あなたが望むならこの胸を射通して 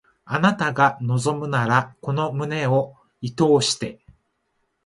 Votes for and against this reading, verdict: 2, 1, accepted